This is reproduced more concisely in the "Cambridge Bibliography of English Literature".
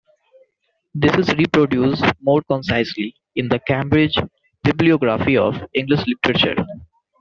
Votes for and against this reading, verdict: 2, 0, accepted